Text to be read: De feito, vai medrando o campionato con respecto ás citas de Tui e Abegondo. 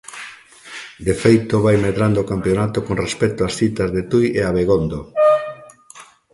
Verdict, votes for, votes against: accepted, 2, 0